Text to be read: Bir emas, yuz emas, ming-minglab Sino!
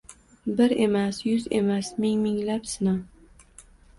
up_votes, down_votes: 2, 0